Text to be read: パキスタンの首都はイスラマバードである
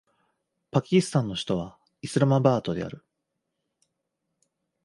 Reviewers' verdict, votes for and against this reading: accepted, 3, 0